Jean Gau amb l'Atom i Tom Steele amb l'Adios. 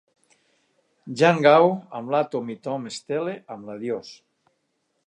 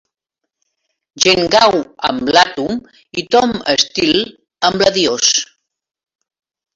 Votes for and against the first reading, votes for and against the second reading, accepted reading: 2, 0, 2, 3, first